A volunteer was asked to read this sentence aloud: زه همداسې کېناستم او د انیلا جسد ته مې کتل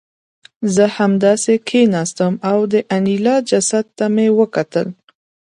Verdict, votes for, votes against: accepted, 2, 0